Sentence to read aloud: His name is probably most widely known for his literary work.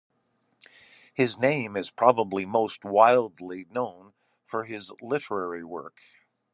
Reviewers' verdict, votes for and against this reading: rejected, 1, 2